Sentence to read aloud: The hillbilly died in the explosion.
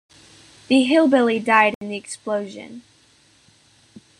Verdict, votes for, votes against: accepted, 2, 0